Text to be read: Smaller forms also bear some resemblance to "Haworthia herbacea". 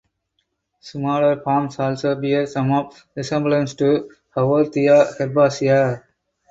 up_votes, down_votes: 0, 4